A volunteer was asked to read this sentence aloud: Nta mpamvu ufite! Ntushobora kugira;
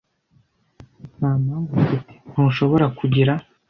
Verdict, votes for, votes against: accepted, 2, 1